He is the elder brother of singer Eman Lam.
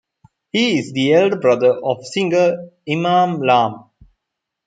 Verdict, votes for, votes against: accepted, 2, 0